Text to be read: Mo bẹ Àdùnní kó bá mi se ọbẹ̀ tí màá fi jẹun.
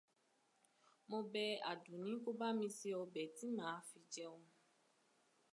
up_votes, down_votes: 2, 0